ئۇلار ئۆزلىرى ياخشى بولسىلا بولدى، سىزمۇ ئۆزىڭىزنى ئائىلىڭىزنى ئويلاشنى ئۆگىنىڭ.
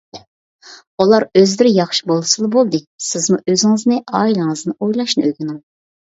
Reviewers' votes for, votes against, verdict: 2, 0, accepted